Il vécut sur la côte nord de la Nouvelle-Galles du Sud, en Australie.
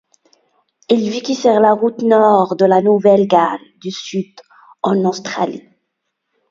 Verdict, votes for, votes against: rejected, 1, 2